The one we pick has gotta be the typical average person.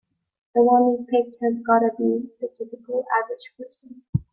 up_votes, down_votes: 3, 0